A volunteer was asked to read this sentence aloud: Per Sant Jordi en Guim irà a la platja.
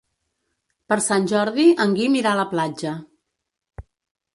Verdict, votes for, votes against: accepted, 3, 0